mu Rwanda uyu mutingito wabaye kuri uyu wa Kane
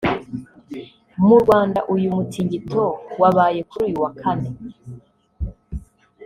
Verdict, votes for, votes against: rejected, 1, 2